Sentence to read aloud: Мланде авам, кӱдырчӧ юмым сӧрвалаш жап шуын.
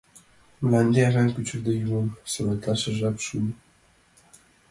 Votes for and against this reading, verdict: 1, 2, rejected